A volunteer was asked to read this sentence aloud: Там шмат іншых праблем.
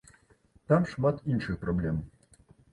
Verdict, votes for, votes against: accepted, 2, 0